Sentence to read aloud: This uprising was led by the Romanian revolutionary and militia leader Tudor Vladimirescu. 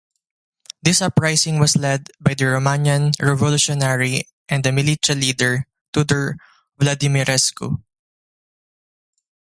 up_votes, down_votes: 0, 2